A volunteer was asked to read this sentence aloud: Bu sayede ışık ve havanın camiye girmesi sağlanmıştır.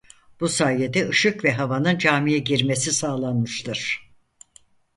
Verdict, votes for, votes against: accepted, 4, 0